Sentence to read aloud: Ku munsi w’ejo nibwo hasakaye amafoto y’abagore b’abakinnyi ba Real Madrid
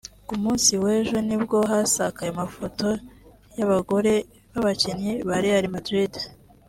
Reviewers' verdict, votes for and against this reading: accepted, 2, 0